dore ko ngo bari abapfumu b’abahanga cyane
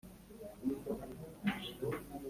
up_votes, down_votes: 2, 1